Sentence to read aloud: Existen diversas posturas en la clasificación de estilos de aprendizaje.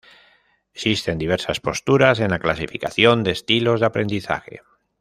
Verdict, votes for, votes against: rejected, 0, 2